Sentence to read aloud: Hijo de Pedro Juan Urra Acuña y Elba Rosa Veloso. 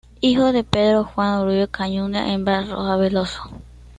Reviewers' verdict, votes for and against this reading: rejected, 1, 2